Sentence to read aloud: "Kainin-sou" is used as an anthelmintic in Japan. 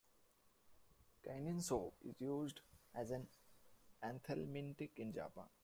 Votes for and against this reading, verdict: 0, 2, rejected